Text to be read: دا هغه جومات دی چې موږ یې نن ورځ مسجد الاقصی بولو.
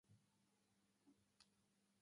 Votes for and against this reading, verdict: 1, 2, rejected